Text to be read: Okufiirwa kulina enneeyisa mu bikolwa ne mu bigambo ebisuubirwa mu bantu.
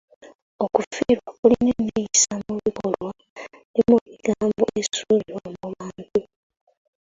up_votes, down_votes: 0, 2